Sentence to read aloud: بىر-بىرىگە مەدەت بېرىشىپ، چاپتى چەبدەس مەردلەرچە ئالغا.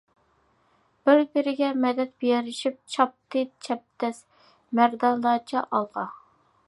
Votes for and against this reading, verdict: 0, 2, rejected